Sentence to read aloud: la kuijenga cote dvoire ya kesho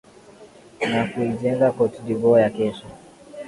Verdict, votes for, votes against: accepted, 10, 1